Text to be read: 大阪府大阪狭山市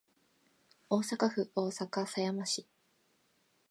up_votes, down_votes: 2, 0